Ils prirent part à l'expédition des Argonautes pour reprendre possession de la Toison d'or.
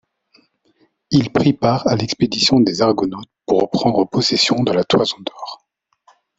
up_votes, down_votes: 1, 2